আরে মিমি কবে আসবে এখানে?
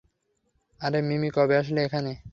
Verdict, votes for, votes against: rejected, 3, 3